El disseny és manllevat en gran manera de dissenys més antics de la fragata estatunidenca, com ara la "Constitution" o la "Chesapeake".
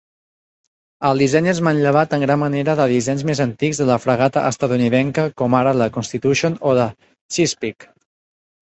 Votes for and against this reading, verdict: 1, 2, rejected